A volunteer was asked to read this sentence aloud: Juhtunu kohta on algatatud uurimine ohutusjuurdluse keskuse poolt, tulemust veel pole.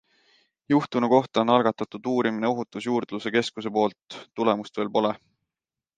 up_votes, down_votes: 2, 0